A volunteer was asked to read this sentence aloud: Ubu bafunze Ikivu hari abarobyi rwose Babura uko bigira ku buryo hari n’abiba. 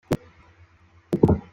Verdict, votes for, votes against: rejected, 0, 3